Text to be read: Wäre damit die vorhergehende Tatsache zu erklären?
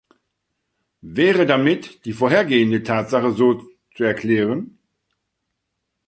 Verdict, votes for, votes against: rejected, 0, 2